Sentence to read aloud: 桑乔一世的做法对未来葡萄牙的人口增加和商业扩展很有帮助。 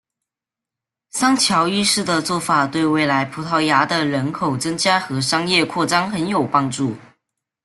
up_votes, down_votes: 2, 0